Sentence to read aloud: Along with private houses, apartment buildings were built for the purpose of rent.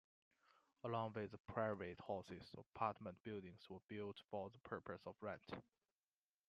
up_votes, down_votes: 1, 2